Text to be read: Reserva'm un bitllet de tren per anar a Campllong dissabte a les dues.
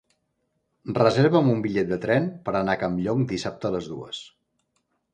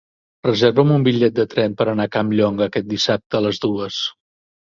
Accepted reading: first